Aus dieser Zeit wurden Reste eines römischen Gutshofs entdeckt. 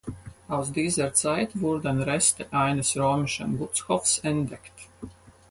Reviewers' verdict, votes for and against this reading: accepted, 4, 2